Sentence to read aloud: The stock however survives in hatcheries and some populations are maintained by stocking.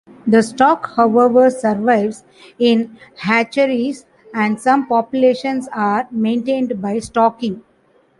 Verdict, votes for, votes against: accepted, 2, 0